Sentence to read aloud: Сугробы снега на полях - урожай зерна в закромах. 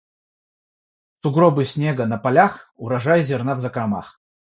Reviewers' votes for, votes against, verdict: 3, 0, accepted